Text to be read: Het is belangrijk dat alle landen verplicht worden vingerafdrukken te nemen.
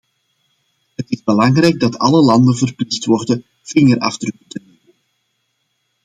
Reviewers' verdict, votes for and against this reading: rejected, 0, 2